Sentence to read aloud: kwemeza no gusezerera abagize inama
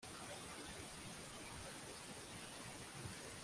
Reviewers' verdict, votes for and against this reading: rejected, 0, 2